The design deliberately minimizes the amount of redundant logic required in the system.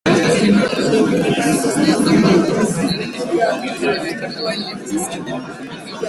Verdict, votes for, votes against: rejected, 0, 2